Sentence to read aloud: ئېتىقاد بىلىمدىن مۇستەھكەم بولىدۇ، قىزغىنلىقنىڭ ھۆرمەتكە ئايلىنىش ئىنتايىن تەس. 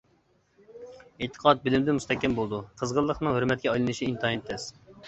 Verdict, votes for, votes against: accepted, 2, 0